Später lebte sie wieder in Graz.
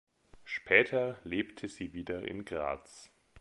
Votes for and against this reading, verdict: 3, 0, accepted